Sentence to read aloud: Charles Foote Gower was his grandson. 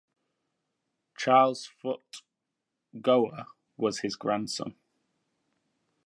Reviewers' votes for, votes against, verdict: 2, 0, accepted